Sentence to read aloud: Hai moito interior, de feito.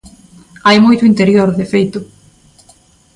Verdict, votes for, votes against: accepted, 2, 0